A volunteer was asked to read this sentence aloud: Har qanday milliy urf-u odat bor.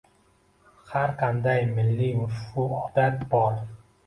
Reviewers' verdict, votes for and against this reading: accepted, 2, 0